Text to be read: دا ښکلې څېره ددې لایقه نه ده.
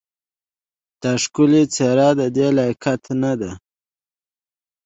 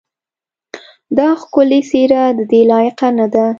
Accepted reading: second